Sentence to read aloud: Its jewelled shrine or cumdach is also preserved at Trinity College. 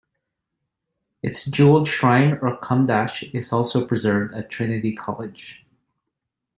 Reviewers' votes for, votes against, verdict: 2, 0, accepted